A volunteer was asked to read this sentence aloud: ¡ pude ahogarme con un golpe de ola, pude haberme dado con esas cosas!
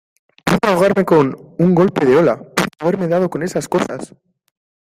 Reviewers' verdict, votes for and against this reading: rejected, 1, 2